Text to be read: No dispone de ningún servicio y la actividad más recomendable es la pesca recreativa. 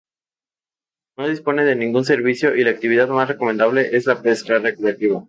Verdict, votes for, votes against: accepted, 2, 0